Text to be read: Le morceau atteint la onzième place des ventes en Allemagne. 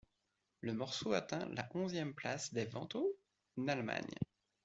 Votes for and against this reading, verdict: 0, 2, rejected